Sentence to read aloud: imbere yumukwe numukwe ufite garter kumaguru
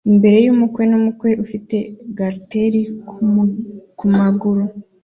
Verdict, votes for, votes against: accepted, 2, 0